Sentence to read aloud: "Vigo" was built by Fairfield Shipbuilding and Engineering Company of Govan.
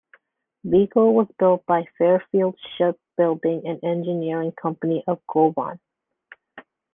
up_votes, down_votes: 2, 1